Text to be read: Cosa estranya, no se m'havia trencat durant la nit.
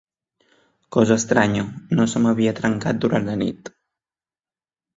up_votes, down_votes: 3, 0